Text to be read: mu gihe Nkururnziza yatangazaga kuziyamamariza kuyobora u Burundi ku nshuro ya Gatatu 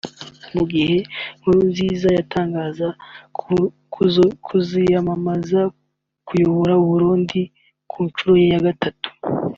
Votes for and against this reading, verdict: 1, 2, rejected